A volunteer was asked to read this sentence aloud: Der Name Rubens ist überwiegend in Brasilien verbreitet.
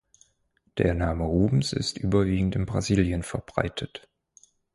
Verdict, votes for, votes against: accepted, 4, 2